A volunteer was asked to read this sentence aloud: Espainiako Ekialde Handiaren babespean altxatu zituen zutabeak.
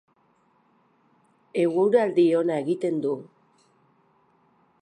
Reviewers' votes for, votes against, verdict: 0, 2, rejected